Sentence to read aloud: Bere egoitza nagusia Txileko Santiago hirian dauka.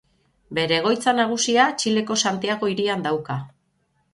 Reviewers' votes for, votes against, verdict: 3, 0, accepted